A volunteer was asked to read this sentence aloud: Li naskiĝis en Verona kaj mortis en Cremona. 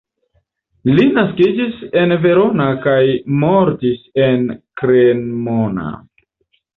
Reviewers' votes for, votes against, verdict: 1, 2, rejected